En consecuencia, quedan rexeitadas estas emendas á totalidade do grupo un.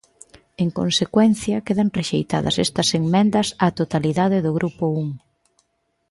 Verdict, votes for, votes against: accepted, 2, 1